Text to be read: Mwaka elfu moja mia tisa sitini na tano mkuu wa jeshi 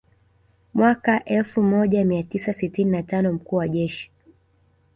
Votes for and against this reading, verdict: 2, 0, accepted